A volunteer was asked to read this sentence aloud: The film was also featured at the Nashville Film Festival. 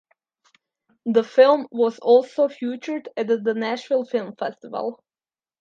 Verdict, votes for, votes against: rejected, 0, 2